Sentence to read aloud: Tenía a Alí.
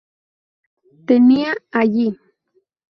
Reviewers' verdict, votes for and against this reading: rejected, 0, 2